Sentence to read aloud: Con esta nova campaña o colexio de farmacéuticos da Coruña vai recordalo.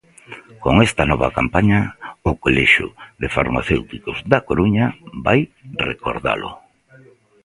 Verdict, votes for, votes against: accepted, 2, 0